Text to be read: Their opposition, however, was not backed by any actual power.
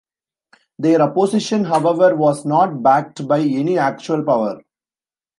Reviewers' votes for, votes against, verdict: 2, 1, accepted